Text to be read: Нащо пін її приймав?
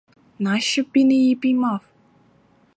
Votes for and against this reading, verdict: 2, 4, rejected